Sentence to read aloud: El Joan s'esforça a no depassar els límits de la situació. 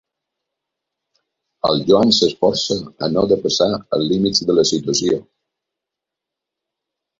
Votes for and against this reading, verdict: 3, 0, accepted